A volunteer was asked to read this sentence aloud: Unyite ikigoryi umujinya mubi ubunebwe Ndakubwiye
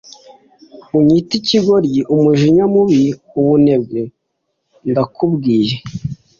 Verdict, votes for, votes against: accepted, 2, 0